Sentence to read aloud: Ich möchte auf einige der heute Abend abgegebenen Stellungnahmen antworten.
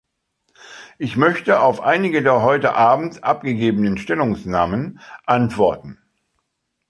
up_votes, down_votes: 1, 3